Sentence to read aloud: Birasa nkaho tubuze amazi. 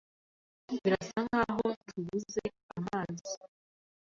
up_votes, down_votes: 2, 0